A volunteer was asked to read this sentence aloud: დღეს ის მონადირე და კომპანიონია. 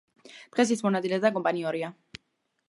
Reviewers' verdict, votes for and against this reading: accepted, 2, 1